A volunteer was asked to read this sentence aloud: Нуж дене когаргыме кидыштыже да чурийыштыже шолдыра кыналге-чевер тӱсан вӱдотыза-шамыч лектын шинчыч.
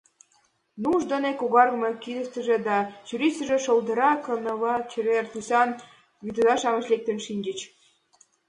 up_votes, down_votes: 2, 1